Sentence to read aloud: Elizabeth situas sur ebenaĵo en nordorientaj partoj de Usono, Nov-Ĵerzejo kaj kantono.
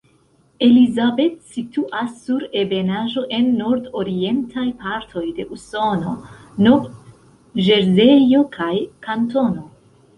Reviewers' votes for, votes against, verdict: 1, 2, rejected